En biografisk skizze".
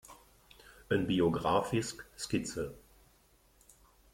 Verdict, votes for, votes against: rejected, 0, 2